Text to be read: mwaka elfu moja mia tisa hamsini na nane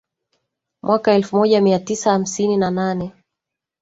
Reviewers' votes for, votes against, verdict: 2, 1, accepted